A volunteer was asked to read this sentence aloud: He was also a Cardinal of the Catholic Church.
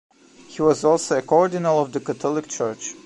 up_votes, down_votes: 0, 2